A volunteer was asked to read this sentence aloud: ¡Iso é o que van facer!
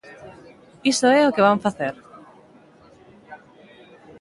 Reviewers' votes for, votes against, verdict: 2, 1, accepted